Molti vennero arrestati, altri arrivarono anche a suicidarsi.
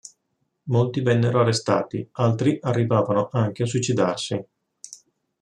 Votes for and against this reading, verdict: 1, 2, rejected